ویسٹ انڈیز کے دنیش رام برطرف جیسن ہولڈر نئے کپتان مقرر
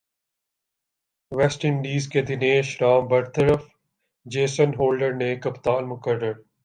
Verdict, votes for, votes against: accepted, 4, 1